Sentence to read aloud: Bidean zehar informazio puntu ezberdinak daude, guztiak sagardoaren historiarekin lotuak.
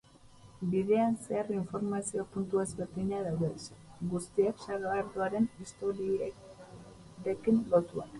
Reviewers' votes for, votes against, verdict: 0, 4, rejected